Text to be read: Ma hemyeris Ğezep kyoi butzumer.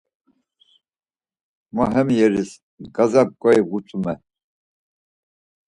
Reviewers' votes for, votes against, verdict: 4, 2, accepted